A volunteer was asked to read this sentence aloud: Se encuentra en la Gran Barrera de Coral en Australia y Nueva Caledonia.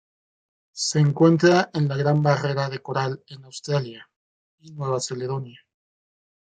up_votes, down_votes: 0, 2